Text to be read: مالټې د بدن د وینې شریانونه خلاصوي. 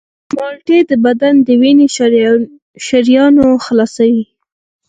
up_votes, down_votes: 4, 0